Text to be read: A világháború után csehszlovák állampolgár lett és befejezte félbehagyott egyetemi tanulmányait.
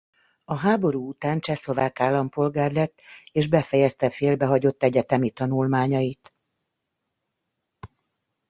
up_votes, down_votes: 0, 2